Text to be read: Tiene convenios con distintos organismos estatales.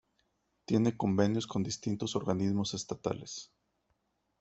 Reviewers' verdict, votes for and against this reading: accepted, 2, 0